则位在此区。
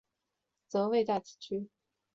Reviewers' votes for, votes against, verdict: 2, 0, accepted